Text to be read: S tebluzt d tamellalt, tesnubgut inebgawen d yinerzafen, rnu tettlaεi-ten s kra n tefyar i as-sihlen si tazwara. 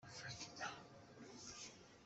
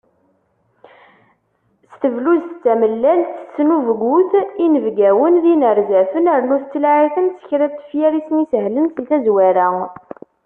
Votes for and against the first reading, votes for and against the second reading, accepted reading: 0, 2, 2, 1, second